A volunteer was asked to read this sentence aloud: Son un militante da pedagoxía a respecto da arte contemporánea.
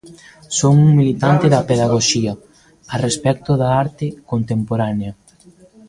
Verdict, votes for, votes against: accepted, 2, 1